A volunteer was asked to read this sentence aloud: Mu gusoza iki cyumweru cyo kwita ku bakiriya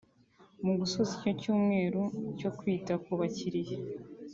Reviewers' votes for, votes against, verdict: 3, 0, accepted